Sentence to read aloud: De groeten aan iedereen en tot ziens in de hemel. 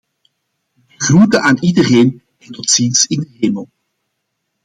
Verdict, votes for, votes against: rejected, 1, 2